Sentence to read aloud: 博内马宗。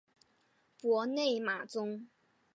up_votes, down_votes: 3, 0